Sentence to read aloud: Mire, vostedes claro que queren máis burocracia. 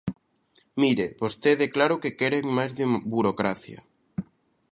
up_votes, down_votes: 0, 2